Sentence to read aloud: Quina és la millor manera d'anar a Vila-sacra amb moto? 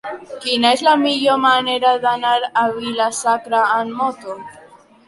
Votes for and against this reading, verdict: 0, 2, rejected